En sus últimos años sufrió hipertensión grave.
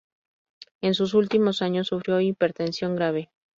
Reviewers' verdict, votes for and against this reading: accepted, 2, 0